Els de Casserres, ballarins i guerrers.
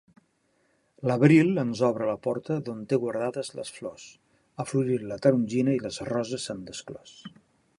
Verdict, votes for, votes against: rejected, 0, 2